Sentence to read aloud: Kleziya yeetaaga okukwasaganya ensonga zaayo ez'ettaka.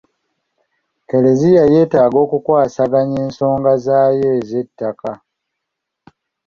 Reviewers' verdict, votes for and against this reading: accepted, 2, 0